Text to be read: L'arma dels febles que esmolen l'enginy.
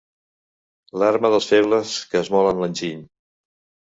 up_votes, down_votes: 2, 0